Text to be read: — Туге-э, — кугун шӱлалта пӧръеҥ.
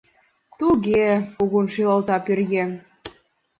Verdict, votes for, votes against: accepted, 2, 0